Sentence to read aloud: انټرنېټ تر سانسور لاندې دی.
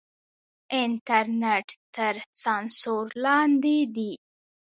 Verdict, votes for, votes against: rejected, 1, 2